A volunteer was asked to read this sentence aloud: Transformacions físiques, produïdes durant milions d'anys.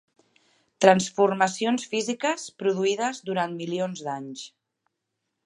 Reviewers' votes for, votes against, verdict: 4, 0, accepted